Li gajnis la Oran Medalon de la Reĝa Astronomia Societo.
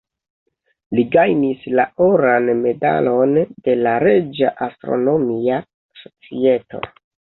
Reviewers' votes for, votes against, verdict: 1, 2, rejected